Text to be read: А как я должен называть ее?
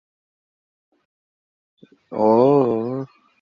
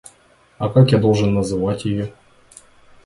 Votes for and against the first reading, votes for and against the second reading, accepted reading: 0, 2, 2, 0, second